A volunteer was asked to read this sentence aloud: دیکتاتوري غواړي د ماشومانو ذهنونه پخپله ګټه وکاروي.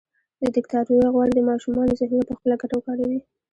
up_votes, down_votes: 2, 1